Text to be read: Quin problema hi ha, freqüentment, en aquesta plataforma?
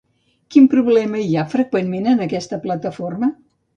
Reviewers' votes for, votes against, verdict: 2, 0, accepted